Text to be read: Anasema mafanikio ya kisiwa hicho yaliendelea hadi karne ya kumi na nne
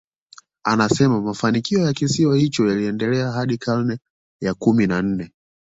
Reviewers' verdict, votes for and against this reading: accepted, 2, 0